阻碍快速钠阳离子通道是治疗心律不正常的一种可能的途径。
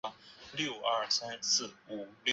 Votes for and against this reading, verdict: 0, 2, rejected